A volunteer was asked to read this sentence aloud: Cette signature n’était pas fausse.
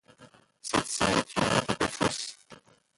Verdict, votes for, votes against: rejected, 0, 2